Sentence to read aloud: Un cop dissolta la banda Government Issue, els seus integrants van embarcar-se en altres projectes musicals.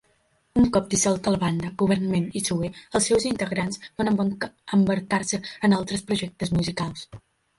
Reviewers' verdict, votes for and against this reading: rejected, 0, 2